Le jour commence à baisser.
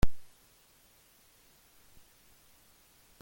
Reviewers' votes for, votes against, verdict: 0, 2, rejected